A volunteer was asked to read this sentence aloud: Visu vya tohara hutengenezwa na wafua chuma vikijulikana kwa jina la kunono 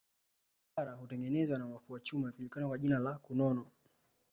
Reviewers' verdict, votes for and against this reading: rejected, 0, 2